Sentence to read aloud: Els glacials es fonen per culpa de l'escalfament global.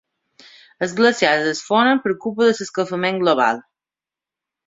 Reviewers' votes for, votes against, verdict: 1, 3, rejected